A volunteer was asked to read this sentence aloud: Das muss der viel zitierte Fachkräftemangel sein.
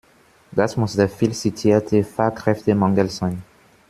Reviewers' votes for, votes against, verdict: 2, 0, accepted